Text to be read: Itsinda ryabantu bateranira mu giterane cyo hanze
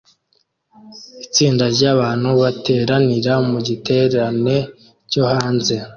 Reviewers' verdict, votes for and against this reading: accepted, 2, 0